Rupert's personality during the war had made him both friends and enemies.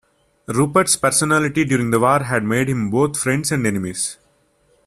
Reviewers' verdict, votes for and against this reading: accepted, 2, 0